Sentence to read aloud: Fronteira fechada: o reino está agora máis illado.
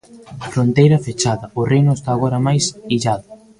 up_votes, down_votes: 2, 0